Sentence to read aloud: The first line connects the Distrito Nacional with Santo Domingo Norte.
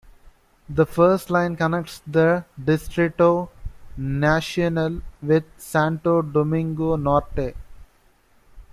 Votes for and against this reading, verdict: 1, 2, rejected